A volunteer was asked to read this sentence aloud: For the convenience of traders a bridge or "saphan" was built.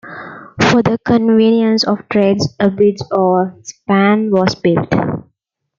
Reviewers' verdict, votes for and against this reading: rejected, 1, 2